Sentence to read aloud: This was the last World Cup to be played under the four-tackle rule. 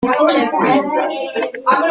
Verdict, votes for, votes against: rejected, 0, 2